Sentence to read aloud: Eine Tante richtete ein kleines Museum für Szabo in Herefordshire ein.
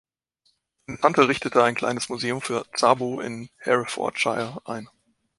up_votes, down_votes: 0, 2